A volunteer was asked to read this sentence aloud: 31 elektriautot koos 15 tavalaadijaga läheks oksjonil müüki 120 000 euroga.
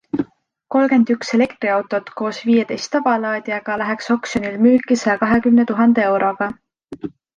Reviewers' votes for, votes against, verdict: 0, 2, rejected